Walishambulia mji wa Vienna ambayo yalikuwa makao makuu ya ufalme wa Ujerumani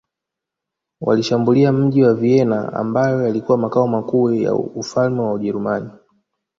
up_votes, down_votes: 2, 1